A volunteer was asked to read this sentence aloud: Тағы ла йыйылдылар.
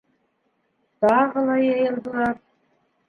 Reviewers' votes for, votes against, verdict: 0, 2, rejected